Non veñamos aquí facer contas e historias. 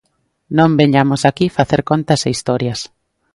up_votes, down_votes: 2, 0